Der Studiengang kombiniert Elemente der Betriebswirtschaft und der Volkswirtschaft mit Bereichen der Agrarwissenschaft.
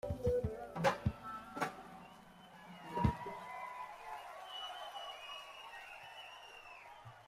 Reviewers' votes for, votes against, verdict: 0, 2, rejected